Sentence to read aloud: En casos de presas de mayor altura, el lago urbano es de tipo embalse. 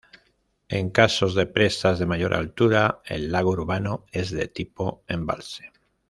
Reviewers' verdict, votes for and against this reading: accepted, 2, 0